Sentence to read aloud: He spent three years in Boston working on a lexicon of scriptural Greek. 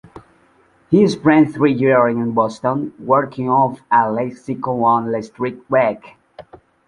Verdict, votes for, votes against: rejected, 0, 2